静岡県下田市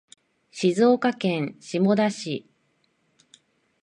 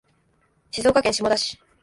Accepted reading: first